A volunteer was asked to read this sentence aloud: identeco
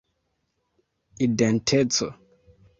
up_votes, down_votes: 0, 2